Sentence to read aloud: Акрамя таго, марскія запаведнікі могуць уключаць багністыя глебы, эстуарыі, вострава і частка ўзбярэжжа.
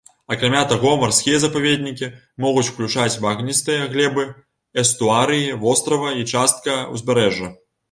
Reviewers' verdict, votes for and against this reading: rejected, 1, 2